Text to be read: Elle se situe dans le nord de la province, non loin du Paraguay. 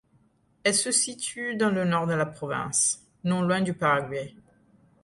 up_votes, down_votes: 2, 0